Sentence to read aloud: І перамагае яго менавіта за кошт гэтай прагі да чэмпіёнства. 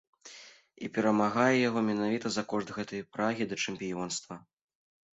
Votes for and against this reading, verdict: 2, 0, accepted